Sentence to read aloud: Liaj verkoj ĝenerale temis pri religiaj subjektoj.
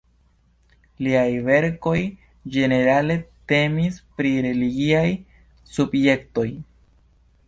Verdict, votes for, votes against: accepted, 2, 1